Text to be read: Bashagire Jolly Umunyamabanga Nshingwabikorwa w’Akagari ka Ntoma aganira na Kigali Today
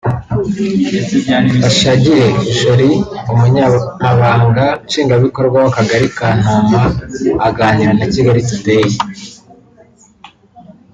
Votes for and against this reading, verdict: 2, 0, accepted